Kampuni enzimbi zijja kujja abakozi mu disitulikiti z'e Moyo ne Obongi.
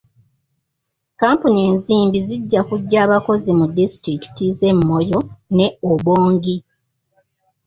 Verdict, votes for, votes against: accepted, 3, 1